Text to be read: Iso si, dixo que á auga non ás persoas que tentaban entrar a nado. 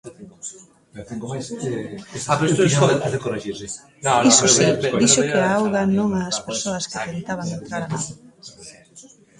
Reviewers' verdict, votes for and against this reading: rejected, 0, 2